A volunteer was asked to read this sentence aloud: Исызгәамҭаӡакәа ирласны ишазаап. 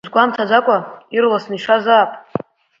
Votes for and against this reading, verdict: 1, 2, rejected